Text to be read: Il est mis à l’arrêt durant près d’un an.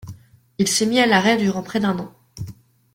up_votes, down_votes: 0, 2